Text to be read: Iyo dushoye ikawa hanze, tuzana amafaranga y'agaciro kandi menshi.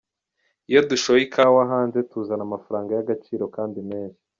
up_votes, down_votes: 2, 1